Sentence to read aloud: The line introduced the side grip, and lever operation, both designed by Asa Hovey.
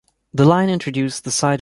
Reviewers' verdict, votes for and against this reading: rejected, 1, 2